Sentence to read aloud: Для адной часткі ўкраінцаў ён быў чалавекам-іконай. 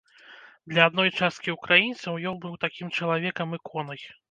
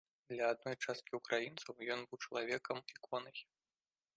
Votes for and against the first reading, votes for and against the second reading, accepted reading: 0, 2, 2, 0, second